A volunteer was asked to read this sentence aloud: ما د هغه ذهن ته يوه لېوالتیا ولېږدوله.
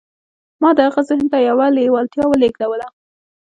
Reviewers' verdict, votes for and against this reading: accepted, 2, 0